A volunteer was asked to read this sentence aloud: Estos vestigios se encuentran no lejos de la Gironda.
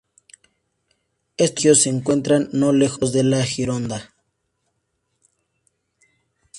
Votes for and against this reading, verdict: 0, 2, rejected